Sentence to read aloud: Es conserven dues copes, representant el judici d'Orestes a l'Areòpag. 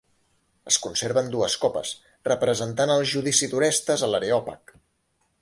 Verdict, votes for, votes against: accepted, 2, 0